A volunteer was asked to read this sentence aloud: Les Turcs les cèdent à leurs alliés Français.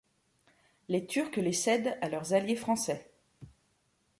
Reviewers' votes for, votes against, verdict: 2, 0, accepted